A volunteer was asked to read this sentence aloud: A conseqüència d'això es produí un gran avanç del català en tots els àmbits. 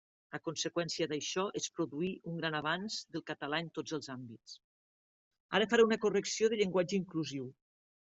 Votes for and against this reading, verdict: 1, 2, rejected